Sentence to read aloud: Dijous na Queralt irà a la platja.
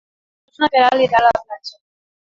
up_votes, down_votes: 0, 2